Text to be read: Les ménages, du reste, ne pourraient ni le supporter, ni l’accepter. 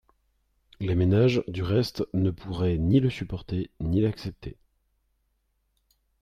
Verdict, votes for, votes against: accepted, 3, 0